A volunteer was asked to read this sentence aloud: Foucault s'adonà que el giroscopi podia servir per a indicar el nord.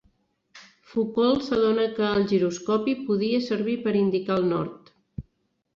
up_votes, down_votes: 1, 2